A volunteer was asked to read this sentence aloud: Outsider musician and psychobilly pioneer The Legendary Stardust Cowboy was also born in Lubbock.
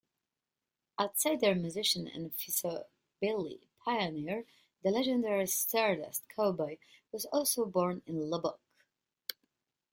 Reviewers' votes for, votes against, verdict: 0, 2, rejected